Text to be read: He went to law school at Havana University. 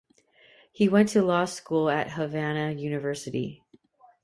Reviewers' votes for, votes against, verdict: 3, 0, accepted